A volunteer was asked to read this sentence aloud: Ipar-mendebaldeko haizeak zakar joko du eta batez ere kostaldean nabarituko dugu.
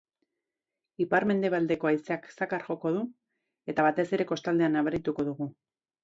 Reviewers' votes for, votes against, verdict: 2, 0, accepted